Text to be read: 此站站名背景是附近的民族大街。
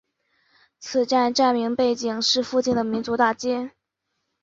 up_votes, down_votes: 3, 0